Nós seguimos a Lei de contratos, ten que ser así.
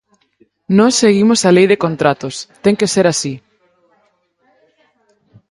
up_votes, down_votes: 2, 4